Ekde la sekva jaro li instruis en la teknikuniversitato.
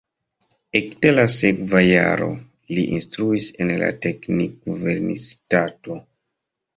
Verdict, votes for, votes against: rejected, 1, 2